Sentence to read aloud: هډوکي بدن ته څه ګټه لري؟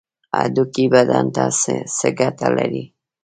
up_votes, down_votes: 1, 2